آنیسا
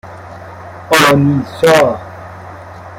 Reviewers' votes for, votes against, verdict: 1, 2, rejected